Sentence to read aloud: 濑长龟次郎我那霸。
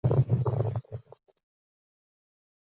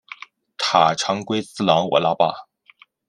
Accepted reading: second